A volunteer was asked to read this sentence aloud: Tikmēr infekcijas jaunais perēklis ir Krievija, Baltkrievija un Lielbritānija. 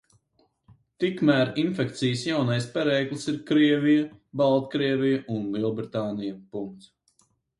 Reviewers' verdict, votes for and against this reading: rejected, 2, 4